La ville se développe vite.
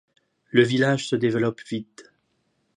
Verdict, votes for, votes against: rejected, 0, 2